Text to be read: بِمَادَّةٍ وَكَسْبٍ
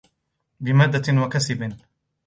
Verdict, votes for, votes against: rejected, 1, 2